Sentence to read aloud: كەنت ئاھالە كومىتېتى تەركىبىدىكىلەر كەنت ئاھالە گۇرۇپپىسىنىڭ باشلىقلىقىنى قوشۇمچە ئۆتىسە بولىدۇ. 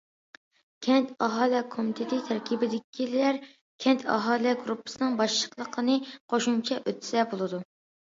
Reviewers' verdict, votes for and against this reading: accepted, 2, 0